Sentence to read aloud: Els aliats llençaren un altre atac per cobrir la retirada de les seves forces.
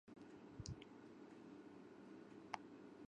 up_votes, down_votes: 1, 2